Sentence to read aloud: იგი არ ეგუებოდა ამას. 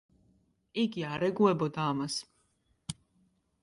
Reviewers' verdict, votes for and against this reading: accepted, 2, 0